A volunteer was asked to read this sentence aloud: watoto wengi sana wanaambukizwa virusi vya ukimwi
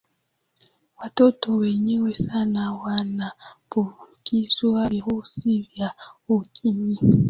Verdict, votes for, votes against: rejected, 0, 2